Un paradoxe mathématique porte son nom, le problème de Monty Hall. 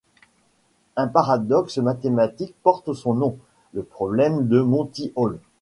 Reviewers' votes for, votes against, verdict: 2, 0, accepted